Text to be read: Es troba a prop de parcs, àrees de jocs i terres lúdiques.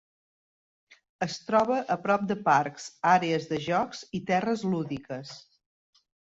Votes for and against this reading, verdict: 3, 0, accepted